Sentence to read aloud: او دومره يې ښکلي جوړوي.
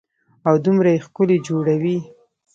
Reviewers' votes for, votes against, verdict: 1, 2, rejected